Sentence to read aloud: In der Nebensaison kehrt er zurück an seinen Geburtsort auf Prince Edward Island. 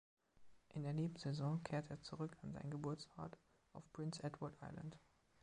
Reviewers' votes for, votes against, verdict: 3, 1, accepted